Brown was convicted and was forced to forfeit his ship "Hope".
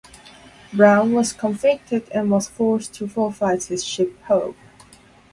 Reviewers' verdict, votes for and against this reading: rejected, 0, 2